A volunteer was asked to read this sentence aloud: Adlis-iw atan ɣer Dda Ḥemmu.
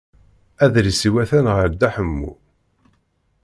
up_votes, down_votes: 2, 0